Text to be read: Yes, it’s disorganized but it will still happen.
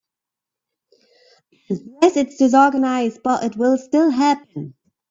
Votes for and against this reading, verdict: 2, 4, rejected